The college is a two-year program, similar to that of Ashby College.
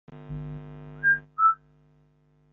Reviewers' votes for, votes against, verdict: 0, 2, rejected